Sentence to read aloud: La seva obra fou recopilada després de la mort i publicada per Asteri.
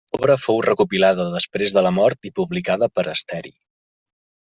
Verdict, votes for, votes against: rejected, 0, 2